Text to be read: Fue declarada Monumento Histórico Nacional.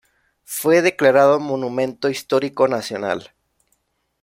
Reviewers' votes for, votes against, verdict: 1, 2, rejected